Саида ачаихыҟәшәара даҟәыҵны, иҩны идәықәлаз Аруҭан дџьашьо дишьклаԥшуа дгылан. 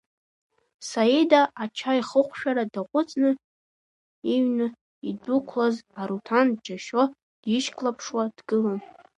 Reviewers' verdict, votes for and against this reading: accepted, 2, 1